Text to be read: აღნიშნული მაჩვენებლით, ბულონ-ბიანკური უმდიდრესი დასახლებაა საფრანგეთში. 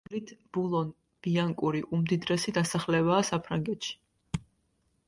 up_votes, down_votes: 0, 2